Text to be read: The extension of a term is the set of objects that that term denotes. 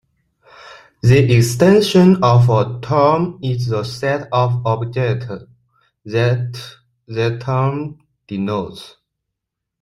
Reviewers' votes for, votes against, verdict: 0, 2, rejected